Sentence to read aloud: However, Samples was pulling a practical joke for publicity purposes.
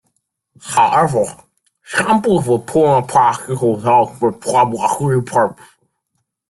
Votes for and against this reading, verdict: 0, 2, rejected